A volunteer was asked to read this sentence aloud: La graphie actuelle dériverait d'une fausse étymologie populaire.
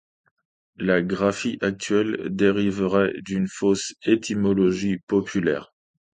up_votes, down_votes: 2, 0